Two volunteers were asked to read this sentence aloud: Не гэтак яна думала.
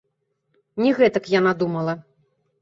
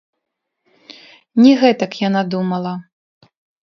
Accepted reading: first